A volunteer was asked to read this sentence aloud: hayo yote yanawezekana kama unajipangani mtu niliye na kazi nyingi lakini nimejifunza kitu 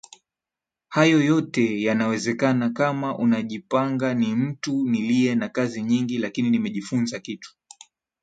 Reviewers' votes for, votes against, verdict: 4, 0, accepted